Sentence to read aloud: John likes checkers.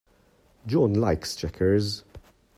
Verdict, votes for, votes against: accepted, 2, 0